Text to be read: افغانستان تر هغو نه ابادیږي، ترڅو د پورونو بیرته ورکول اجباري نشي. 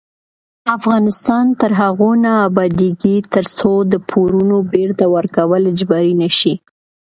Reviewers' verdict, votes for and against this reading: accepted, 2, 0